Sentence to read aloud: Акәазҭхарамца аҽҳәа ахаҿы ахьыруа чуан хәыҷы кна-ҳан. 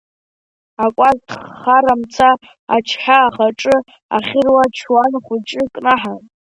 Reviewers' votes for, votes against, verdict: 0, 2, rejected